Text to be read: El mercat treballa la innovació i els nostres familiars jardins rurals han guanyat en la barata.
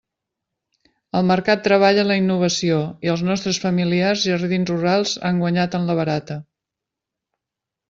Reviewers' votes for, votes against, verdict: 2, 0, accepted